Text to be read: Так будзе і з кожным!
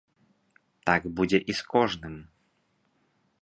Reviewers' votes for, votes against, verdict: 4, 0, accepted